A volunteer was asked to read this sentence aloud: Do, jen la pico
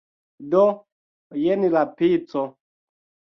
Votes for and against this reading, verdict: 2, 1, accepted